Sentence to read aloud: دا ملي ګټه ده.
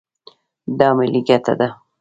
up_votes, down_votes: 3, 2